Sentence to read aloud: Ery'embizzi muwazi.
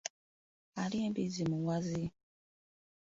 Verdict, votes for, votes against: rejected, 0, 2